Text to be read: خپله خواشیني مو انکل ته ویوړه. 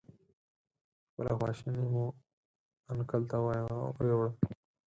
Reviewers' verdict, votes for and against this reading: rejected, 0, 4